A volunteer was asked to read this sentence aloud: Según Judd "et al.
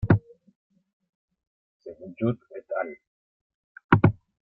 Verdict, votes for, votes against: accepted, 2, 1